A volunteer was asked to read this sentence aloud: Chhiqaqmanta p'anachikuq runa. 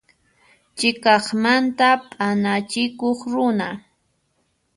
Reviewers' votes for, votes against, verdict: 1, 2, rejected